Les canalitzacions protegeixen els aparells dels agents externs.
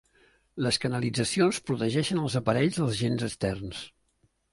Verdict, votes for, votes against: rejected, 0, 2